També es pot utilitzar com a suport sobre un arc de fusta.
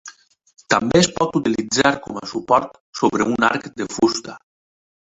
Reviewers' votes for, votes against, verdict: 3, 0, accepted